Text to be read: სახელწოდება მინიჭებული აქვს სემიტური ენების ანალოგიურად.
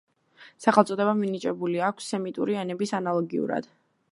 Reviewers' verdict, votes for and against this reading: rejected, 1, 2